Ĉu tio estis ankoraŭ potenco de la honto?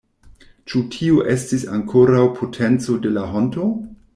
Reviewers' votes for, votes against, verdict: 2, 0, accepted